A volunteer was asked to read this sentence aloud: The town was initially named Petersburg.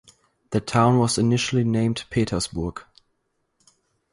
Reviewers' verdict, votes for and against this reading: rejected, 2, 2